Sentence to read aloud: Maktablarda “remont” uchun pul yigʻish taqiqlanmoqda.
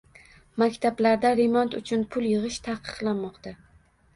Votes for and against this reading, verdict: 2, 0, accepted